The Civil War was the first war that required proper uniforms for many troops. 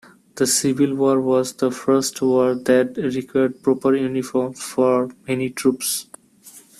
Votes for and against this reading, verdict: 1, 2, rejected